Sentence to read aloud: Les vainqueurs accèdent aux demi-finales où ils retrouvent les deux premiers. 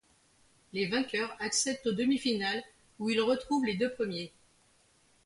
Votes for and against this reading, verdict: 2, 0, accepted